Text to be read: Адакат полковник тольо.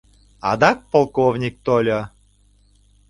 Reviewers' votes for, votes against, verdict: 1, 2, rejected